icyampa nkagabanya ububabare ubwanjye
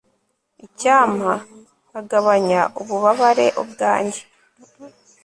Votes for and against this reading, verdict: 2, 0, accepted